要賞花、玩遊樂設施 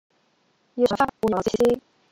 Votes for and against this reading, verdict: 0, 2, rejected